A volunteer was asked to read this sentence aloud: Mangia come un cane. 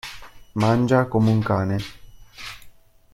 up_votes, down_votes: 2, 0